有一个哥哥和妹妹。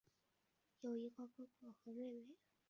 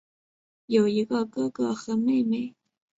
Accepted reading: second